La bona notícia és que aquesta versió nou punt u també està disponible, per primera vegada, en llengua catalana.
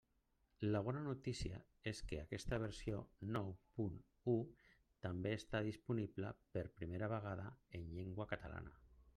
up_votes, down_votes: 1, 2